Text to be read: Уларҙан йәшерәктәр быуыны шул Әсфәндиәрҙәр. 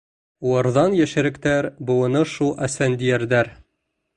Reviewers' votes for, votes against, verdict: 2, 0, accepted